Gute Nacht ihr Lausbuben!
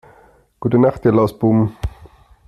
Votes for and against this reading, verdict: 2, 0, accepted